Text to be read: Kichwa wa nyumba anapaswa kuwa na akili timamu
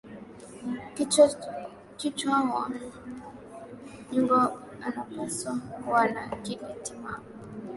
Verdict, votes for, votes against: rejected, 0, 4